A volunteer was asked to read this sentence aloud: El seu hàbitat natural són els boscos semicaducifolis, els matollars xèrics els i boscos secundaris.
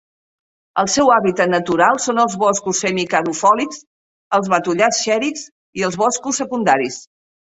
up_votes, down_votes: 0, 2